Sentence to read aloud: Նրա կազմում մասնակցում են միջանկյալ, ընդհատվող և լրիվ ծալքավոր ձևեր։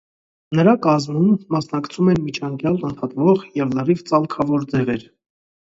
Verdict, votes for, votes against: rejected, 0, 2